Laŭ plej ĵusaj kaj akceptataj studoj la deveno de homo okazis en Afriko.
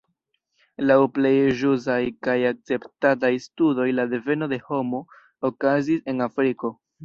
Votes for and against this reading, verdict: 1, 2, rejected